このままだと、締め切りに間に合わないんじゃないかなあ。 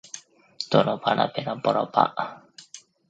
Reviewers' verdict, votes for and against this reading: rejected, 1, 2